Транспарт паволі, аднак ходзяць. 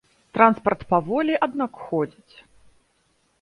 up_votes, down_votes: 0, 2